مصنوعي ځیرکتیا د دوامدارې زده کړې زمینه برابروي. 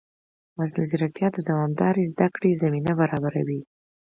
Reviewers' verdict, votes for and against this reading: accepted, 2, 0